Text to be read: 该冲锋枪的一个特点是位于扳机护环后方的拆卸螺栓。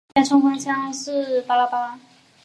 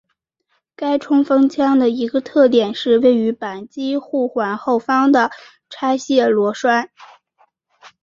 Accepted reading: second